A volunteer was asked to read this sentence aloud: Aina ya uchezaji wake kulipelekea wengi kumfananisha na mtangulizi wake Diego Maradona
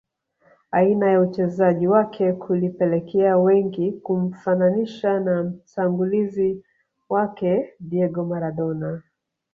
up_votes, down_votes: 3, 1